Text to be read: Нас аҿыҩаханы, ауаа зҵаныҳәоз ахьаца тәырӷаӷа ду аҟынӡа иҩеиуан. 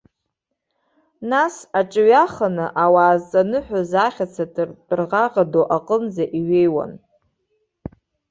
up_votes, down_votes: 2, 1